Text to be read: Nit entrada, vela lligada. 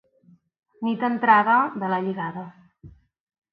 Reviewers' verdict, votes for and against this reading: accepted, 3, 0